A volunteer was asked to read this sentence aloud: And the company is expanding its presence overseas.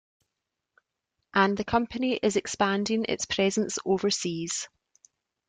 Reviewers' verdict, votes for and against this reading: accepted, 2, 0